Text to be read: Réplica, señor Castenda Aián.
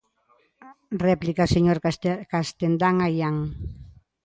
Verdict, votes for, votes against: rejected, 0, 2